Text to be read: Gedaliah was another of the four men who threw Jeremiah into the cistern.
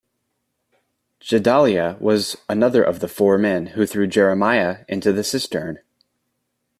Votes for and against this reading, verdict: 2, 0, accepted